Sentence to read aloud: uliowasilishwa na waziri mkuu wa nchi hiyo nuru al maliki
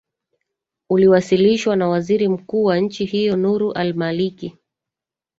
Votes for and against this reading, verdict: 1, 2, rejected